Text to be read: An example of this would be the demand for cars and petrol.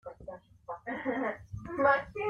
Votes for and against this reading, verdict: 0, 2, rejected